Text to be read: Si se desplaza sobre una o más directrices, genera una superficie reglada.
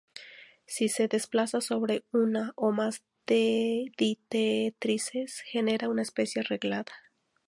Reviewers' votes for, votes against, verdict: 0, 2, rejected